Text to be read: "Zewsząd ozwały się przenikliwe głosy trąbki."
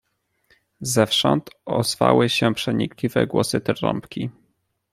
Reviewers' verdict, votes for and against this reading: accepted, 2, 0